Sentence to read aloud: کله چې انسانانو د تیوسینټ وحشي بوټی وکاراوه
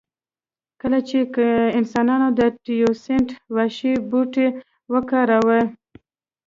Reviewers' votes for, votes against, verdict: 2, 0, accepted